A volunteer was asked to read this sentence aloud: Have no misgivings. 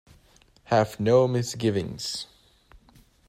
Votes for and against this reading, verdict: 2, 0, accepted